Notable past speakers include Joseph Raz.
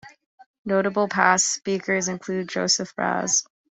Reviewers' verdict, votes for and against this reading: accepted, 2, 0